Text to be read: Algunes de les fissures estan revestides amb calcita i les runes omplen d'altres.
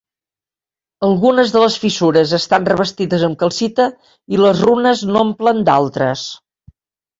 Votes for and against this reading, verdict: 0, 2, rejected